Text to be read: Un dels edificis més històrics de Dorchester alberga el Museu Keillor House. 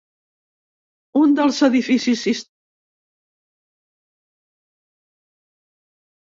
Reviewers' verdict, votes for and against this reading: rejected, 0, 2